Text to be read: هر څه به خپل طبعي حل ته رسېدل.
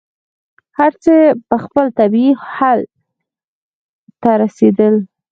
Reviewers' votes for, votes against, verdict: 2, 4, rejected